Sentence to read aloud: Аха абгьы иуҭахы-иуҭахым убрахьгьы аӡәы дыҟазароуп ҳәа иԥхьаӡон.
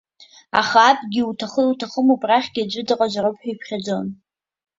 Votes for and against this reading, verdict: 1, 2, rejected